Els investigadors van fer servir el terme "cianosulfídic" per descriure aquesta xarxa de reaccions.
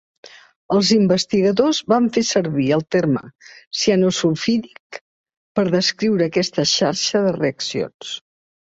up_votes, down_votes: 3, 0